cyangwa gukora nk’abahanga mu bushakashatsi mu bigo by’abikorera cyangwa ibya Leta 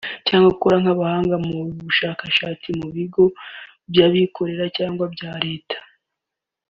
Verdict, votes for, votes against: accepted, 3, 1